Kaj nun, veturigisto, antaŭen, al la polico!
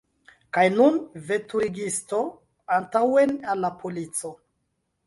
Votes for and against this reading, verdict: 0, 2, rejected